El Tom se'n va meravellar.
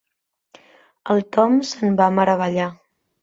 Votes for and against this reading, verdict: 3, 0, accepted